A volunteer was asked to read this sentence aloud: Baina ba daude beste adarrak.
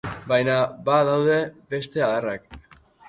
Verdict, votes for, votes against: accepted, 4, 0